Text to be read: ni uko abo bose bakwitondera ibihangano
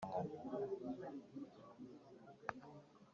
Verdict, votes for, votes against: rejected, 0, 2